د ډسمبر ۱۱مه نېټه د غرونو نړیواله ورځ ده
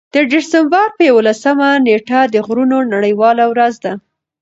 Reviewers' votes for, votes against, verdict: 0, 2, rejected